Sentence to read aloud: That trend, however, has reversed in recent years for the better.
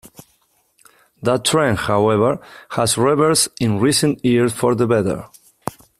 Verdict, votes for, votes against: accepted, 2, 0